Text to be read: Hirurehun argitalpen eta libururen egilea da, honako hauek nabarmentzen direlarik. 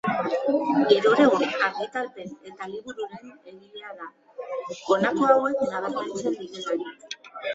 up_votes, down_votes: 2, 1